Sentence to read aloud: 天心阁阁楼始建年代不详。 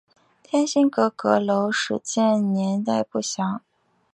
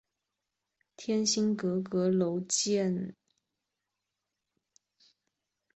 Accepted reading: first